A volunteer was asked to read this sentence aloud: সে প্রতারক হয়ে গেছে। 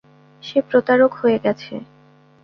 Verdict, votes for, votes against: accepted, 2, 0